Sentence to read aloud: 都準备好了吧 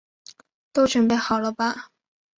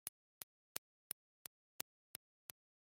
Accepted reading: first